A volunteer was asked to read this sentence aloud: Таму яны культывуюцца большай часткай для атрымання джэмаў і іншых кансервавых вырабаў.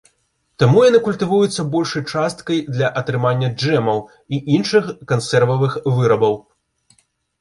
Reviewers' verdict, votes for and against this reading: rejected, 1, 2